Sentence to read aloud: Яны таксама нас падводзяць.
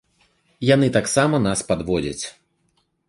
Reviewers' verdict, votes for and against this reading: accepted, 2, 0